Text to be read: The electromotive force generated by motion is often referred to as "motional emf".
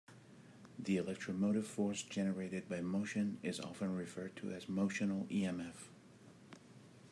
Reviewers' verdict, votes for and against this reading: accepted, 2, 0